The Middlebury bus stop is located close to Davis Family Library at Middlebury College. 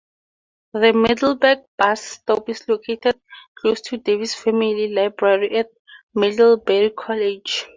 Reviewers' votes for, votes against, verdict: 0, 4, rejected